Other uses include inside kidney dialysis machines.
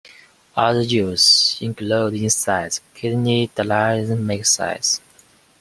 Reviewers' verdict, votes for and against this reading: rejected, 0, 2